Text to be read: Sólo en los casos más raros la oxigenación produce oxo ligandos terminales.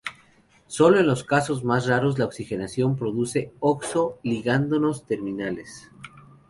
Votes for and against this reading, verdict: 0, 2, rejected